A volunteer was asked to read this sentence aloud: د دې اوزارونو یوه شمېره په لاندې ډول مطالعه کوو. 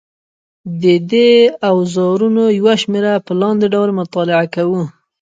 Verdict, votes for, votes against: rejected, 1, 2